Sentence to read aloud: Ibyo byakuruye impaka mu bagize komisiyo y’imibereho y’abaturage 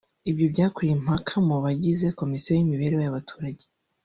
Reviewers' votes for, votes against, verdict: 0, 2, rejected